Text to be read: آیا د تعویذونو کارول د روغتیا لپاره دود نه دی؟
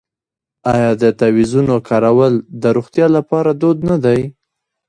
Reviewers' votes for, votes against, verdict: 0, 2, rejected